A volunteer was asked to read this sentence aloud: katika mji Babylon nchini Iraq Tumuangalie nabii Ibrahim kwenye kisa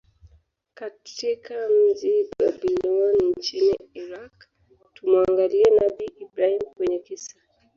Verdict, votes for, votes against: accepted, 2, 0